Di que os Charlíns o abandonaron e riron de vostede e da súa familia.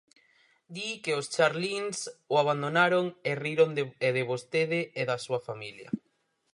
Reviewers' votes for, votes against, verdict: 0, 4, rejected